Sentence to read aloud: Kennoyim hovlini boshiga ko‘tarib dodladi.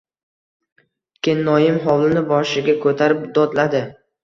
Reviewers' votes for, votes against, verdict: 2, 0, accepted